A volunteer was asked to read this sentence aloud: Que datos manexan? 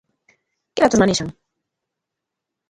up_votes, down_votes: 0, 2